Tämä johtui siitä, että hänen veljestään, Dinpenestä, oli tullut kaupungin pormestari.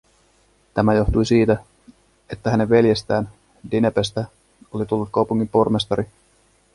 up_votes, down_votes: 0, 2